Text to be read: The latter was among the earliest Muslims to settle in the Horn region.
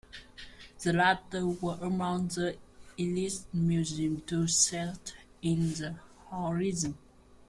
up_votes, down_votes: 0, 2